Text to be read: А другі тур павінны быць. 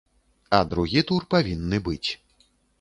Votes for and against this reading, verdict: 2, 0, accepted